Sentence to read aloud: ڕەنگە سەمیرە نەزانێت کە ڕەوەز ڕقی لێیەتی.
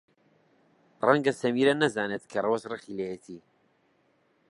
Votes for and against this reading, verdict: 2, 0, accepted